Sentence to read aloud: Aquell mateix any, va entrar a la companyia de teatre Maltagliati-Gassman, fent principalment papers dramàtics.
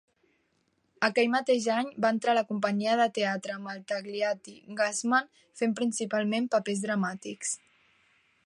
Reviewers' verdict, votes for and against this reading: accepted, 2, 0